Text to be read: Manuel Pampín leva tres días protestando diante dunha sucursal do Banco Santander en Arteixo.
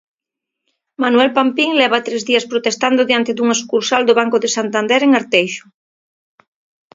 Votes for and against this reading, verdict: 1, 2, rejected